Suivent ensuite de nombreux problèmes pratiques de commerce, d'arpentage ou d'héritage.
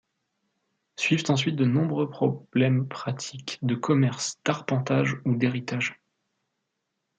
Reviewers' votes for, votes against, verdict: 0, 2, rejected